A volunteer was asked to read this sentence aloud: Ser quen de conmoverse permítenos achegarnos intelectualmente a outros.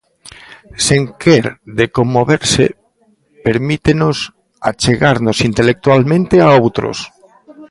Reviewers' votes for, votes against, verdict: 0, 2, rejected